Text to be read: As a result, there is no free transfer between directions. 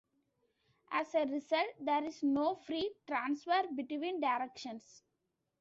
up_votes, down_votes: 2, 1